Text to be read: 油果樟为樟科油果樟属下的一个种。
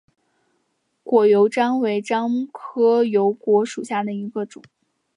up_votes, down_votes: 0, 2